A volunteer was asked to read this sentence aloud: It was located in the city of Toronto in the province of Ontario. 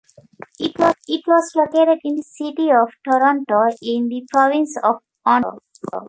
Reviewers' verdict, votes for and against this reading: rejected, 0, 2